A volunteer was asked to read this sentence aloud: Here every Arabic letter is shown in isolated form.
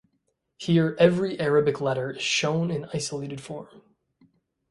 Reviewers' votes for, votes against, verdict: 2, 0, accepted